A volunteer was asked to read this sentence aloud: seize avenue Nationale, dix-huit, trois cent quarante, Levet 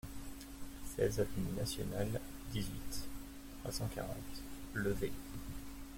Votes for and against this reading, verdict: 1, 2, rejected